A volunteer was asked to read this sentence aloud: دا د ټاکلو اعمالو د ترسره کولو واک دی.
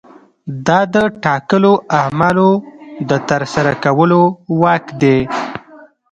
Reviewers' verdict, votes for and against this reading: rejected, 1, 2